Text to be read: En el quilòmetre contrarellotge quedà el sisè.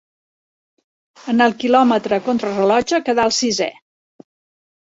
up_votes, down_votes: 1, 2